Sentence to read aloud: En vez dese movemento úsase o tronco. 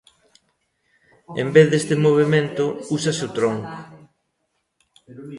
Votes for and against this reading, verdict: 0, 2, rejected